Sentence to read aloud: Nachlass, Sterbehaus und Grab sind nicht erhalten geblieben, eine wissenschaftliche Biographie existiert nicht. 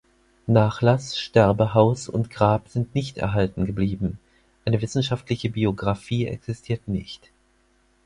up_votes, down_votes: 4, 0